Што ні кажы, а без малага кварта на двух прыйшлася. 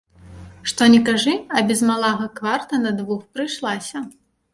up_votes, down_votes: 1, 2